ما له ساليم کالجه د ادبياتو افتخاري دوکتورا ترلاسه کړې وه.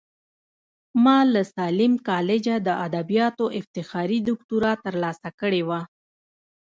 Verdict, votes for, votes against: rejected, 0, 2